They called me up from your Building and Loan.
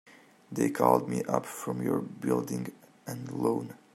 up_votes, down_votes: 2, 0